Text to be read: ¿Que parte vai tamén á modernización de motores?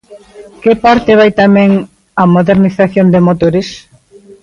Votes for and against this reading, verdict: 2, 0, accepted